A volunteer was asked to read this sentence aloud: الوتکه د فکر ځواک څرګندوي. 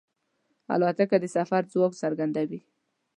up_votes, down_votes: 0, 2